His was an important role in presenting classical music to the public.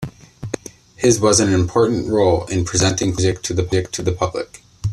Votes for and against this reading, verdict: 1, 2, rejected